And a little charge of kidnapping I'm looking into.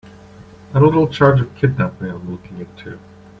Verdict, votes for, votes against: rejected, 1, 2